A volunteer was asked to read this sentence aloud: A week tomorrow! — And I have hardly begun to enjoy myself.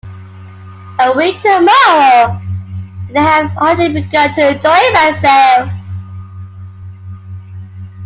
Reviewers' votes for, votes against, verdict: 1, 2, rejected